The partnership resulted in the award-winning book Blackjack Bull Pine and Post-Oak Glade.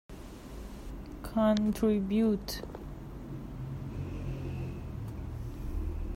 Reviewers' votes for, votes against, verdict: 0, 2, rejected